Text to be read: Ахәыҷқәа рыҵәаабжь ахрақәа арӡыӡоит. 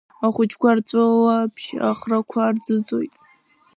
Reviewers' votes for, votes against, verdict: 0, 2, rejected